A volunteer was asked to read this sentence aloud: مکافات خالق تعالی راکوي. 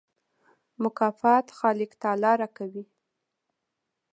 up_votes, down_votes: 2, 0